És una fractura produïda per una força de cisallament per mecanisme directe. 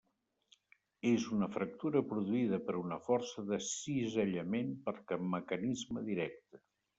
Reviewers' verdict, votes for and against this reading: rejected, 0, 2